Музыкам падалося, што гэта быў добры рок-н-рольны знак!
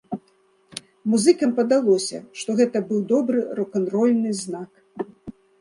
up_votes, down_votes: 3, 0